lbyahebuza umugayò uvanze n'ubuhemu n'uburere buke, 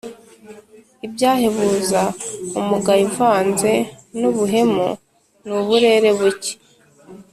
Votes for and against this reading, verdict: 2, 0, accepted